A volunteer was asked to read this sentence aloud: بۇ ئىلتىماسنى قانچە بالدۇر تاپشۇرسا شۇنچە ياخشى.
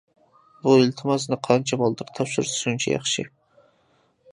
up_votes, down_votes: 2, 1